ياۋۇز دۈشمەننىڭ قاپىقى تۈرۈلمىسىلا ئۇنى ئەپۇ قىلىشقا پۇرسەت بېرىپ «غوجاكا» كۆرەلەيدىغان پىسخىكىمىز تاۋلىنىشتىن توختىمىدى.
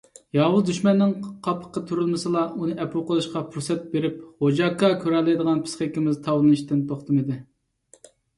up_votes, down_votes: 2, 1